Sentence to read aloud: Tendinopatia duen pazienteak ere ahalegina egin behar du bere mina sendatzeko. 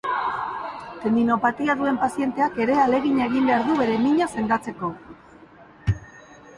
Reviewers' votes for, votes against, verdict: 2, 0, accepted